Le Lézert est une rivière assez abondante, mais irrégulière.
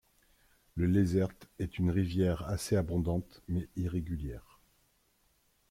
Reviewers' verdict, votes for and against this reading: accepted, 2, 0